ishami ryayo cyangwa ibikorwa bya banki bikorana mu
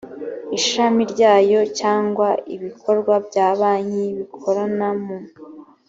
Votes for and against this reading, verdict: 2, 0, accepted